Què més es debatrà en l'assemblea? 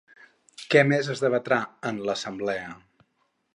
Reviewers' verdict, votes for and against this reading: rejected, 2, 2